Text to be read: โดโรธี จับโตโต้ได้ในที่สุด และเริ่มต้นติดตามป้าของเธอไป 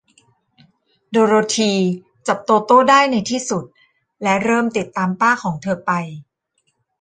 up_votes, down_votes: 0, 2